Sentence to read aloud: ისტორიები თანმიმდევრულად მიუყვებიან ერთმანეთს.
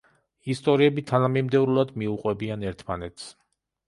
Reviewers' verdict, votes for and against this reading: rejected, 1, 2